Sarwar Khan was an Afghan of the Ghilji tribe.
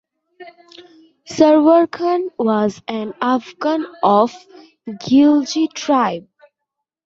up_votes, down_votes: 0, 2